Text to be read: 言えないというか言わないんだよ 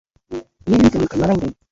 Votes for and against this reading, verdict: 0, 2, rejected